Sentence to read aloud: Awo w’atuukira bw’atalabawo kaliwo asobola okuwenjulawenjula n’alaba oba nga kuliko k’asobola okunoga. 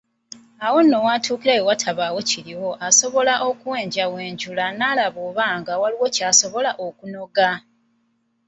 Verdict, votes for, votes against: rejected, 1, 2